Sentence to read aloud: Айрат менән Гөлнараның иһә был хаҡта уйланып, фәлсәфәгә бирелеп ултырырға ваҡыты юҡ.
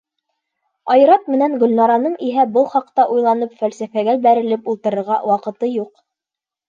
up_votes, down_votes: 1, 2